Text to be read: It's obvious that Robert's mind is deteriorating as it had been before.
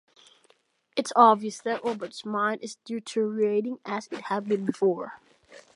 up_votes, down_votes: 1, 2